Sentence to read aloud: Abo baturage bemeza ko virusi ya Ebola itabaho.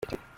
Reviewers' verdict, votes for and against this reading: rejected, 0, 2